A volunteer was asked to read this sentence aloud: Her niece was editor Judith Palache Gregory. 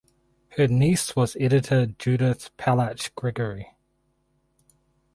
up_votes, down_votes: 2, 4